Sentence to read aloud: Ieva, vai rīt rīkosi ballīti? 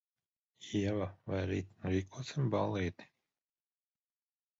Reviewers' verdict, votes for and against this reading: rejected, 1, 2